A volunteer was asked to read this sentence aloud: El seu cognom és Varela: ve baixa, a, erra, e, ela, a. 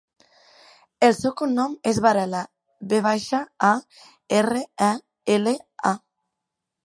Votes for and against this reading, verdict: 2, 1, accepted